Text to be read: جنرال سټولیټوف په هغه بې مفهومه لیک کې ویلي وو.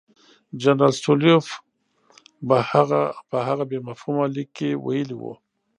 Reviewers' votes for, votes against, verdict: 0, 2, rejected